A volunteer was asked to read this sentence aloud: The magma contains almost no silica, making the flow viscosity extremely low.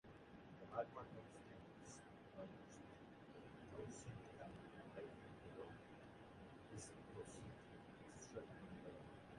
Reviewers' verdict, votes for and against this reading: rejected, 0, 2